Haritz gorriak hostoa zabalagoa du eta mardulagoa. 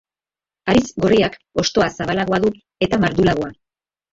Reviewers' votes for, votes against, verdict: 1, 2, rejected